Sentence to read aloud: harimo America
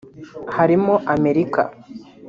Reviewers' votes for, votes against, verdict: 2, 0, accepted